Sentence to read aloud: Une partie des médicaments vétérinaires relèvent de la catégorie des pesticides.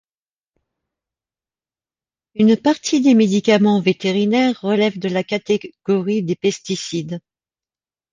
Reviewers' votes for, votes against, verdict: 3, 0, accepted